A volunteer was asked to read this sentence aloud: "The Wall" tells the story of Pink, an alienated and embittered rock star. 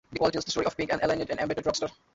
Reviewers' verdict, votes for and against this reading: rejected, 0, 2